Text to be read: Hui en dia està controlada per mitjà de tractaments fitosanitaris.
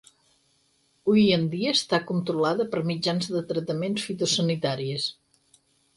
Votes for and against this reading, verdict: 0, 4, rejected